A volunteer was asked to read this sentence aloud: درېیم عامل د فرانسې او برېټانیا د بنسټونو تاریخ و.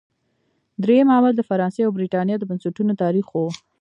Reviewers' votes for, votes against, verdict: 1, 2, rejected